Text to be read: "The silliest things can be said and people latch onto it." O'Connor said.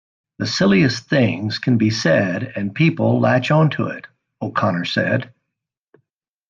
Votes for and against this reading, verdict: 2, 0, accepted